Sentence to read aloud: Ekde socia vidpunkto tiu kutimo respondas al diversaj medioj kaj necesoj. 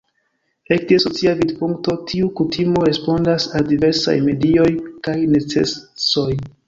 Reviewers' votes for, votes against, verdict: 1, 2, rejected